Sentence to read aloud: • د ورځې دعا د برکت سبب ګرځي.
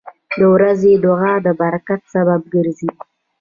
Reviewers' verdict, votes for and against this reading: rejected, 1, 2